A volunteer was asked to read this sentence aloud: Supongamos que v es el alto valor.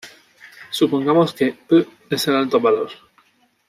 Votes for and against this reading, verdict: 1, 2, rejected